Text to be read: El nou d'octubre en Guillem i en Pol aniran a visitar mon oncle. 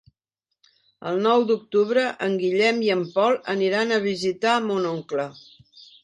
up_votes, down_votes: 4, 0